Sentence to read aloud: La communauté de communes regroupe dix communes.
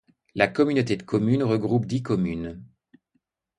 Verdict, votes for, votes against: accepted, 2, 0